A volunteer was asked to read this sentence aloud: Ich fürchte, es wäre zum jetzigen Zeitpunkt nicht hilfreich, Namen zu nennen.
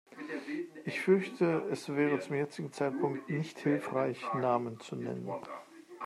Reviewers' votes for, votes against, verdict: 1, 2, rejected